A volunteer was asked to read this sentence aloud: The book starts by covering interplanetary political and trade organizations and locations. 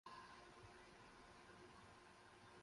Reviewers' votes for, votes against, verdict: 0, 4, rejected